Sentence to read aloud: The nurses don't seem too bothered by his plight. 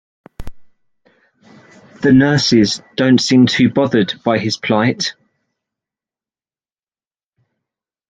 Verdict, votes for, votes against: accepted, 2, 0